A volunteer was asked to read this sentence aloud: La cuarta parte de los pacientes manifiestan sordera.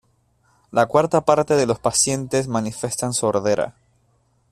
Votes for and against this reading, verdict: 1, 2, rejected